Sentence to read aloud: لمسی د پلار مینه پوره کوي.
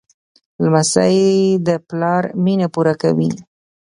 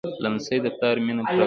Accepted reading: first